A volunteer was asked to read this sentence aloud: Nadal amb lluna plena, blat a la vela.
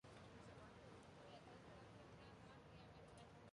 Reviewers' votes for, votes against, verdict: 0, 2, rejected